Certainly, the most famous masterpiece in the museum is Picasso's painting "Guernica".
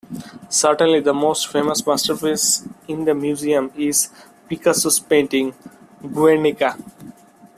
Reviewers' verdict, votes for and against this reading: accepted, 2, 0